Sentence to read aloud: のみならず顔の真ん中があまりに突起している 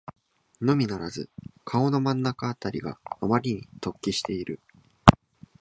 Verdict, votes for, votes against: rejected, 0, 2